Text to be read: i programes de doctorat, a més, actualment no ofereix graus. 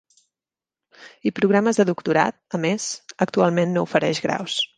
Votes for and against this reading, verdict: 3, 0, accepted